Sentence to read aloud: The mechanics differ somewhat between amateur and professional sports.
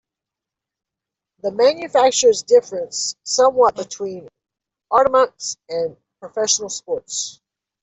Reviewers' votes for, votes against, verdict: 0, 2, rejected